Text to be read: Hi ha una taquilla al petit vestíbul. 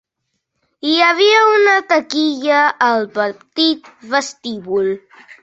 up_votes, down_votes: 2, 1